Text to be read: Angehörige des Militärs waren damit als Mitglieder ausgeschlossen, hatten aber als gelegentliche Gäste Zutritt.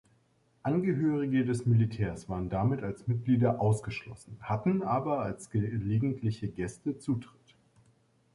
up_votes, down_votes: 1, 2